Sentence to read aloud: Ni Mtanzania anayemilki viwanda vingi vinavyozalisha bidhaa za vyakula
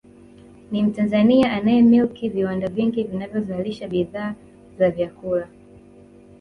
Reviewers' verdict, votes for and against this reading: accepted, 2, 1